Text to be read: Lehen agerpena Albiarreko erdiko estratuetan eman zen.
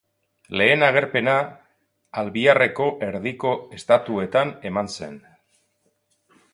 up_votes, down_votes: 0, 2